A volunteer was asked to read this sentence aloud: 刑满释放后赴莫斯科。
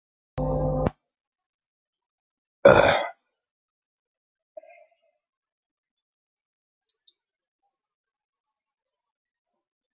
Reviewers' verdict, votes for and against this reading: rejected, 0, 2